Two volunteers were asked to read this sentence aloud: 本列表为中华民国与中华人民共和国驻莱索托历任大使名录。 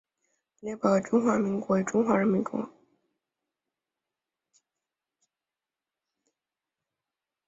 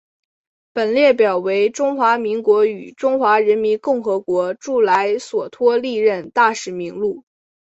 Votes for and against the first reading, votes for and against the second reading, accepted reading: 0, 2, 3, 1, second